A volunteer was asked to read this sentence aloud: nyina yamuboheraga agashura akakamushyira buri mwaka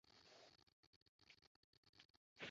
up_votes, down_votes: 0, 2